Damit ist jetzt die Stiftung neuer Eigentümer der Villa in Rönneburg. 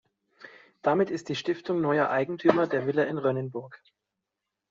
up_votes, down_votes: 1, 2